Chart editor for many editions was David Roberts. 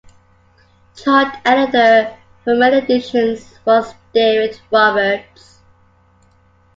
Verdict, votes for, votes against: accepted, 2, 0